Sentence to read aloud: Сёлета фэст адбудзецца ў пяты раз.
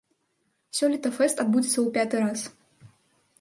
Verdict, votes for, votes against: accepted, 4, 0